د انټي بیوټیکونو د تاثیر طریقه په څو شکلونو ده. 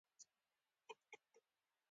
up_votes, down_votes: 0, 2